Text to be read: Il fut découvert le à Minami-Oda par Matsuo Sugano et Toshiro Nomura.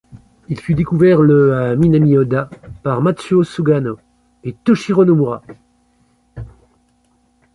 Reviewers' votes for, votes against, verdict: 1, 2, rejected